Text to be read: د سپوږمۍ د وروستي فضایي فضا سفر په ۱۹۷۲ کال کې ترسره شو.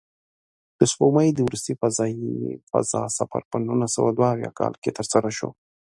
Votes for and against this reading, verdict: 0, 2, rejected